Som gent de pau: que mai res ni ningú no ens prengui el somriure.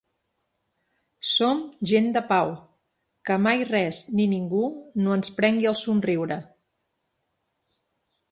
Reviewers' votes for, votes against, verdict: 4, 0, accepted